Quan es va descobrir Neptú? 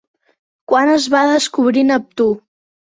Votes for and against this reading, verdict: 3, 0, accepted